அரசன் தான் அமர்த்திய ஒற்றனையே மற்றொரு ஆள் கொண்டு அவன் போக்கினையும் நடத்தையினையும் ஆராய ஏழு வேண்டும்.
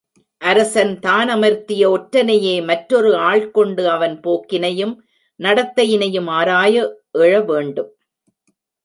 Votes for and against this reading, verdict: 1, 2, rejected